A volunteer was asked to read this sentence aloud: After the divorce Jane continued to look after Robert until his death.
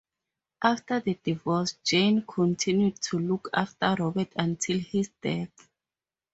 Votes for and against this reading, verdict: 2, 2, rejected